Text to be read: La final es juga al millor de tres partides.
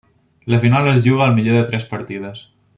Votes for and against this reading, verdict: 3, 0, accepted